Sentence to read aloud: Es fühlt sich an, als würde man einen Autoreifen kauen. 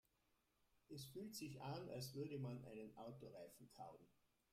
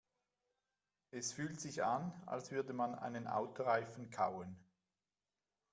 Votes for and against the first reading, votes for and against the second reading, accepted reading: 0, 2, 2, 0, second